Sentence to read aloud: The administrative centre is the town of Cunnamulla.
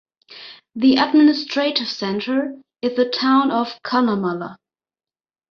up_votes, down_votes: 2, 0